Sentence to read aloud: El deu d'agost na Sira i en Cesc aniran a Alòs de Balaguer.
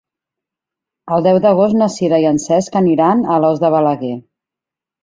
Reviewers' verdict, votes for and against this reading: accepted, 2, 0